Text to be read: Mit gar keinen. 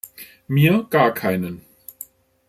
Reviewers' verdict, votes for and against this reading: rejected, 0, 2